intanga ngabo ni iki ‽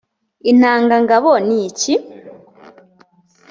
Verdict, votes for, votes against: accepted, 2, 0